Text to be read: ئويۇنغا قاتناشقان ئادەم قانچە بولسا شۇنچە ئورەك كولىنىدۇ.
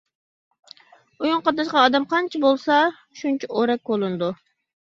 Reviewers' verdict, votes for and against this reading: accepted, 2, 0